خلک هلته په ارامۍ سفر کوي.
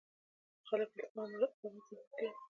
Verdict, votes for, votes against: rejected, 0, 2